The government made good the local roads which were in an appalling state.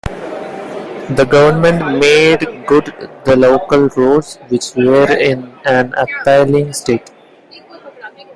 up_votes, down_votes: 0, 2